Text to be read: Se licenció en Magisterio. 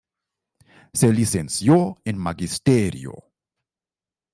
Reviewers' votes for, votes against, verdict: 1, 2, rejected